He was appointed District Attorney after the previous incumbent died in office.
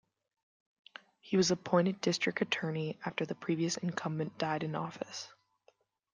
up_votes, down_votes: 2, 0